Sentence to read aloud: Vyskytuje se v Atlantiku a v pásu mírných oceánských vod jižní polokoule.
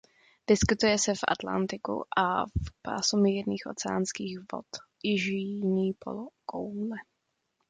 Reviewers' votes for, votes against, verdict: 1, 2, rejected